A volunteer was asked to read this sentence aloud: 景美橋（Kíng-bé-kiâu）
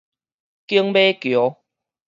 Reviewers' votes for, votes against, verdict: 4, 0, accepted